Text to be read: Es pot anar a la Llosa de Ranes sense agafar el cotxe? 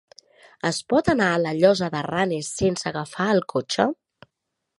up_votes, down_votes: 3, 0